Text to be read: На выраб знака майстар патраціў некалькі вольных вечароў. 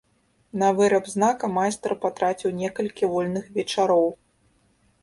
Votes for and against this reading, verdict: 2, 0, accepted